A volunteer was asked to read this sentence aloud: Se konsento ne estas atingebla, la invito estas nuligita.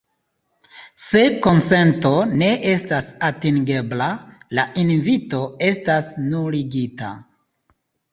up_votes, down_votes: 2, 0